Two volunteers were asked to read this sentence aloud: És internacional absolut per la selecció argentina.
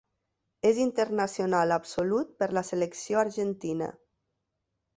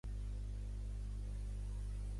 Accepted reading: first